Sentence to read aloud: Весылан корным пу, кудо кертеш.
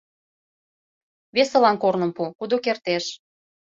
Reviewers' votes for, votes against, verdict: 2, 0, accepted